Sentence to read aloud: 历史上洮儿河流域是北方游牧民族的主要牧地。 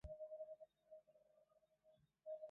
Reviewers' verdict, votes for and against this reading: rejected, 0, 3